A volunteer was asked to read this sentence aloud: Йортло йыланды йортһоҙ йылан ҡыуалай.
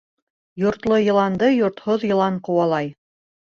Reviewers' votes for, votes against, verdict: 2, 0, accepted